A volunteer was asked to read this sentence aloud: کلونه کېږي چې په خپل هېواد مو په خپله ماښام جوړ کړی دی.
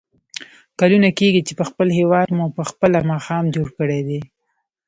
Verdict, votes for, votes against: rejected, 1, 2